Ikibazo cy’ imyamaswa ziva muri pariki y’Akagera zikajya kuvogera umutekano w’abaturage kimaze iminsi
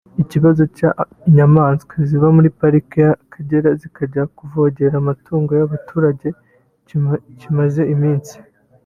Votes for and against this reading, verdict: 0, 2, rejected